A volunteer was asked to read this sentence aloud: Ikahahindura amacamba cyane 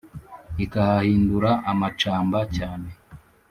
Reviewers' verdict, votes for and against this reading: accepted, 2, 0